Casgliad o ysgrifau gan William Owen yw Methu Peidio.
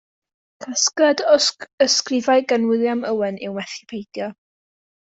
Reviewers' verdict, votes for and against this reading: rejected, 1, 2